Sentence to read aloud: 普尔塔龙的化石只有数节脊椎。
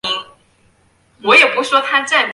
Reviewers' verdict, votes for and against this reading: rejected, 0, 2